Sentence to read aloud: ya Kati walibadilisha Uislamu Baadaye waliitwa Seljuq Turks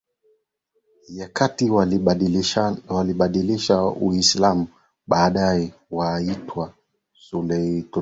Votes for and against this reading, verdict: 2, 0, accepted